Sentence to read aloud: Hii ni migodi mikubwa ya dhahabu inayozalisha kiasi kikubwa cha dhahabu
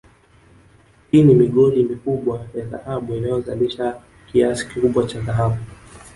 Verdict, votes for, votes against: rejected, 1, 2